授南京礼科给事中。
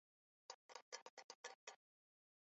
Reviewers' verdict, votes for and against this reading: rejected, 1, 3